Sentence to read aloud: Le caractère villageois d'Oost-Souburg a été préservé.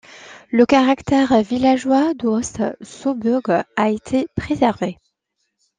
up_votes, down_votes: 2, 0